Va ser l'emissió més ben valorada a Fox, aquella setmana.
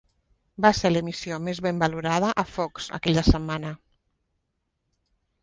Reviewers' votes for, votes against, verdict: 3, 0, accepted